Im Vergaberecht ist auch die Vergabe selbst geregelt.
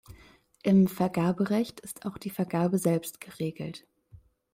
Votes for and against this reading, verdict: 2, 0, accepted